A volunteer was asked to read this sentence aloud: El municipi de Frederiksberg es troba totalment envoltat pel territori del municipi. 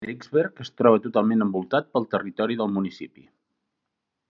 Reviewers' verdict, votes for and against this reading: rejected, 0, 2